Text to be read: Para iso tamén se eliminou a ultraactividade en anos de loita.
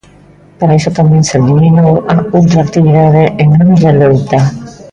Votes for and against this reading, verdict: 0, 2, rejected